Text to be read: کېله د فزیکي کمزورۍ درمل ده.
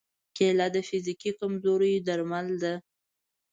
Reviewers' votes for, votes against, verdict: 2, 0, accepted